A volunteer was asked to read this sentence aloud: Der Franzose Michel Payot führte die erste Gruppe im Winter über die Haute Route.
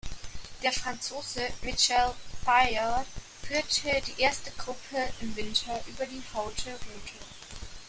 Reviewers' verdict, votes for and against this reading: rejected, 1, 2